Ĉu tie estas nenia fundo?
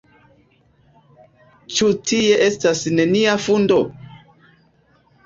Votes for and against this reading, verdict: 3, 0, accepted